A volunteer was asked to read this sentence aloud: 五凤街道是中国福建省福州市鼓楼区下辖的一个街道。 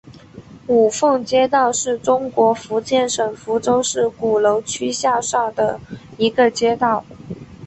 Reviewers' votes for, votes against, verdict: 3, 0, accepted